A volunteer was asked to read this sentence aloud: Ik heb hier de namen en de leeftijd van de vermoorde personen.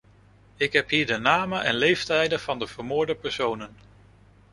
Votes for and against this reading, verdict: 1, 2, rejected